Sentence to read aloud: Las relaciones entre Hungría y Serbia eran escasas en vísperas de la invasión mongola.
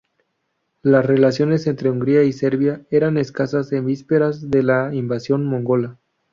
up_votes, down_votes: 2, 0